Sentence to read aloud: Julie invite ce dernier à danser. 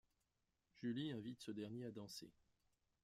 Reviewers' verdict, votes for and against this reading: rejected, 1, 2